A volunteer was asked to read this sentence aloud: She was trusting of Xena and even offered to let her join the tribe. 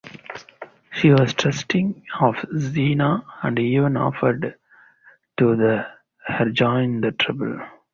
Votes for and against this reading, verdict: 2, 0, accepted